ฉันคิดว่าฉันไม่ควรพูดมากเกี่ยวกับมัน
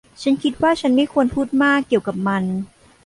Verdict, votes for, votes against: rejected, 0, 2